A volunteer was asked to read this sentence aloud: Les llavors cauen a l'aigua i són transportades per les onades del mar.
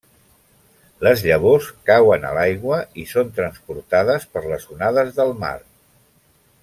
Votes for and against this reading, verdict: 3, 0, accepted